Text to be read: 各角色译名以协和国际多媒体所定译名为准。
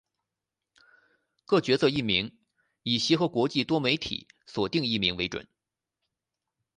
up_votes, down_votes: 2, 0